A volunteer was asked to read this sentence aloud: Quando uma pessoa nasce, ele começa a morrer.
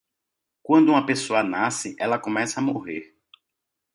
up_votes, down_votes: 1, 2